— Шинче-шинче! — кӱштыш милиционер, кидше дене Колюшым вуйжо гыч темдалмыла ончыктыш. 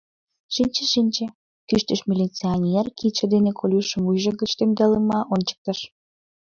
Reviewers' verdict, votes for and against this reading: accepted, 2, 1